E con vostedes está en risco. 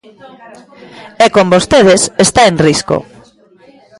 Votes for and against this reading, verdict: 2, 0, accepted